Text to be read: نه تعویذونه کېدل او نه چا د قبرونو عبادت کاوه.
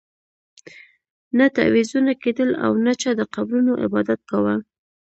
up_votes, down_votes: 2, 0